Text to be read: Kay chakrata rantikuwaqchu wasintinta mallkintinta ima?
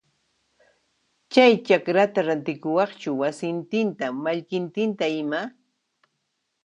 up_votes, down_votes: 1, 2